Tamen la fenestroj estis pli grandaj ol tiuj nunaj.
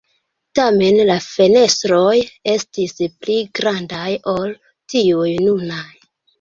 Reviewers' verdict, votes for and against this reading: accepted, 2, 0